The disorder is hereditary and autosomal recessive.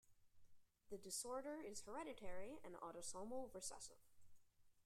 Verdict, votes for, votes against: accepted, 2, 1